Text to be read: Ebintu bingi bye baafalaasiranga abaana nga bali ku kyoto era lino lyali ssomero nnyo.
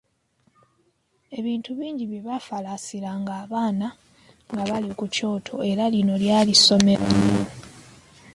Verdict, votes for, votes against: accepted, 3, 2